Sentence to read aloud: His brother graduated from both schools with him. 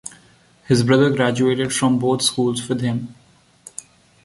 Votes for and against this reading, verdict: 2, 0, accepted